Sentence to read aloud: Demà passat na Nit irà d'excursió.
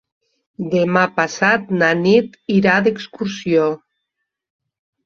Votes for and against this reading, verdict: 2, 0, accepted